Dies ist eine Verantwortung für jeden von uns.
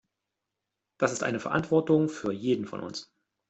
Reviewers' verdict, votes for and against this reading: rejected, 0, 2